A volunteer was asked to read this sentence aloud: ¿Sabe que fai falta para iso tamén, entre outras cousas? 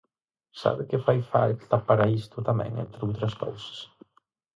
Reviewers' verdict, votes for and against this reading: rejected, 0, 4